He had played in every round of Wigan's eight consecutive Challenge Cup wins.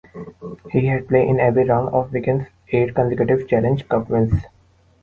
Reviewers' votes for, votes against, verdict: 2, 0, accepted